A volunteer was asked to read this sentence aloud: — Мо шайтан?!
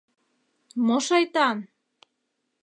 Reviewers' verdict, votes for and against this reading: accepted, 2, 0